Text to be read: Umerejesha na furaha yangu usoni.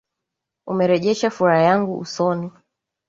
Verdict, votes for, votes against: accepted, 2, 1